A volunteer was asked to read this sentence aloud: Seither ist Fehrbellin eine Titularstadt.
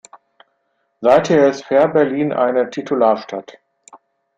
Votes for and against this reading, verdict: 0, 2, rejected